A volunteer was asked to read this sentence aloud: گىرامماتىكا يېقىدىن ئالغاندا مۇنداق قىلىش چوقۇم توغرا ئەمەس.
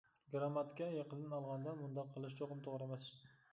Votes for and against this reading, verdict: 2, 0, accepted